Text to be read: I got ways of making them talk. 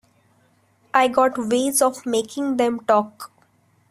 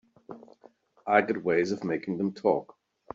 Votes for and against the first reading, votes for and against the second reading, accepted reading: 1, 2, 3, 0, second